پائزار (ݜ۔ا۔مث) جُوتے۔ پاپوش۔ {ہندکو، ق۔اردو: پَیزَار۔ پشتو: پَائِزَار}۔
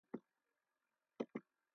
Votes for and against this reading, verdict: 0, 2, rejected